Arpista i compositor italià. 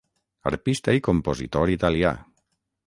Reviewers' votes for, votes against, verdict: 6, 0, accepted